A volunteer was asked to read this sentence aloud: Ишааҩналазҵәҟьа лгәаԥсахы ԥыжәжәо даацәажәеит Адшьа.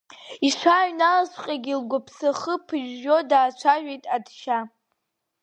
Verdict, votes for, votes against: accepted, 3, 2